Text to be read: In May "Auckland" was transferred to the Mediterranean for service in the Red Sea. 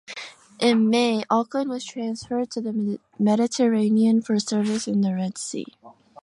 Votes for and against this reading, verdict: 2, 1, accepted